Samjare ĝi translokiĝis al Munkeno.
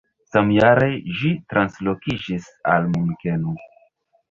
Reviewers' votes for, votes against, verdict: 0, 2, rejected